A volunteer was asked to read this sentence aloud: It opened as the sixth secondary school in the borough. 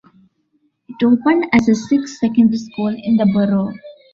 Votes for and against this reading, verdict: 0, 2, rejected